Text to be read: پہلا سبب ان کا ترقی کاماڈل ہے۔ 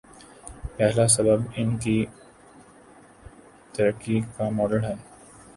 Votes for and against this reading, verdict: 0, 2, rejected